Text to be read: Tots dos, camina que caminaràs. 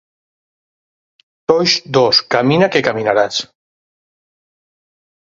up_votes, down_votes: 2, 4